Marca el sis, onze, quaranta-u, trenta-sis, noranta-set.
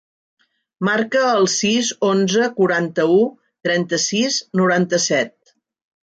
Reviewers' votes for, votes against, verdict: 1, 2, rejected